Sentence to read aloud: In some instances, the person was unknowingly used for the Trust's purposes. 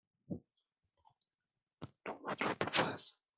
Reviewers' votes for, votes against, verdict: 0, 2, rejected